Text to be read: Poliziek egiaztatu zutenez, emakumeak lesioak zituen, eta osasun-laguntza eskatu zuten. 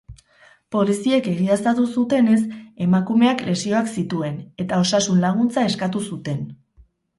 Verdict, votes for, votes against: accepted, 4, 2